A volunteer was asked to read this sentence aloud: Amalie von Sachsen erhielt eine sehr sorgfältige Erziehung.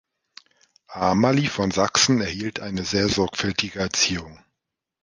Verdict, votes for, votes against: rejected, 1, 2